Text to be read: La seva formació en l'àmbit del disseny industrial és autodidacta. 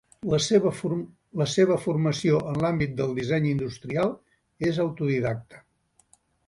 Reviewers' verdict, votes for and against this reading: rejected, 1, 3